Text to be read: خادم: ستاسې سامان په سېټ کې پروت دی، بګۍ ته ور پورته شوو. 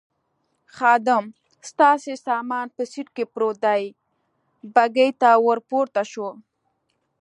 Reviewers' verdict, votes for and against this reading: accepted, 3, 0